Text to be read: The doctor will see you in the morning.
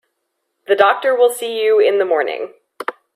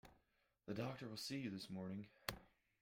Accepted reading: first